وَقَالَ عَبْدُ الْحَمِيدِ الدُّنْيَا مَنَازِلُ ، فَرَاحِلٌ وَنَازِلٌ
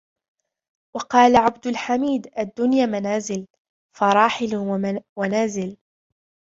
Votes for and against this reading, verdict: 1, 2, rejected